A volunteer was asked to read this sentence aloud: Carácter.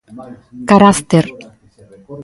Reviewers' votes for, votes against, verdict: 2, 1, accepted